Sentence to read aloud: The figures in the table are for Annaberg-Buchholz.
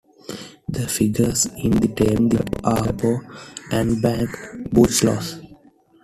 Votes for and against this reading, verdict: 0, 2, rejected